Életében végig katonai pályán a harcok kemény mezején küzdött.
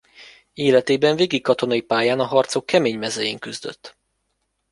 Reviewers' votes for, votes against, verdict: 1, 2, rejected